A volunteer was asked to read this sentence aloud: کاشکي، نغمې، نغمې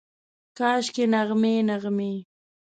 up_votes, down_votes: 2, 0